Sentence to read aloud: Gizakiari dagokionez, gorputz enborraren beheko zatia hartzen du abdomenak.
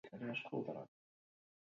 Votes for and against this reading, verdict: 0, 2, rejected